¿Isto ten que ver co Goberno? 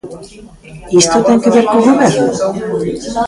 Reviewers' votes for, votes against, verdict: 1, 2, rejected